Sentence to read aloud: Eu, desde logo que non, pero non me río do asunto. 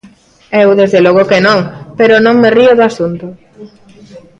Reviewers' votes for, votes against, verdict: 3, 0, accepted